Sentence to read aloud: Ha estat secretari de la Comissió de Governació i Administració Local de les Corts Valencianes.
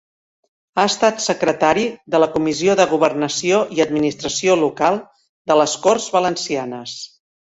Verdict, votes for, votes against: rejected, 1, 2